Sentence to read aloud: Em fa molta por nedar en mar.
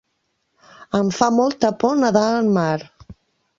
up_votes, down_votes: 2, 1